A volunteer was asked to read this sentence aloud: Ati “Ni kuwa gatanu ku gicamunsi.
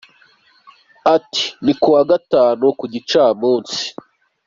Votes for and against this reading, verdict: 2, 0, accepted